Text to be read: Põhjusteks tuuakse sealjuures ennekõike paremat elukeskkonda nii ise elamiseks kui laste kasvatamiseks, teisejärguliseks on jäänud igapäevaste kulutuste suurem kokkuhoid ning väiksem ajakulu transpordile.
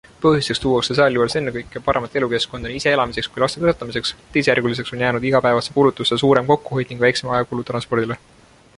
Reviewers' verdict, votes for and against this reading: accepted, 2, 0